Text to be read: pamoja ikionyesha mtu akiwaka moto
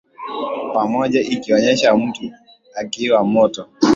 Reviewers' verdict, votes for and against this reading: accepted, 2, 1